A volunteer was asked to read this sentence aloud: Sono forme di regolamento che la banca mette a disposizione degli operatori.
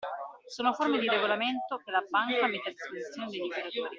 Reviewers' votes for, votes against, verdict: 1, 2, rejected